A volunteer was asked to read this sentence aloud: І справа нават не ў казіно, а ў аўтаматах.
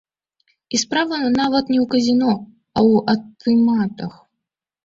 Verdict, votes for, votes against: rejected, 0, 2